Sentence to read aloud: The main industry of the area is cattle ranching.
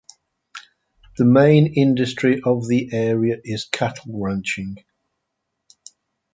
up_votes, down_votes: 2, 0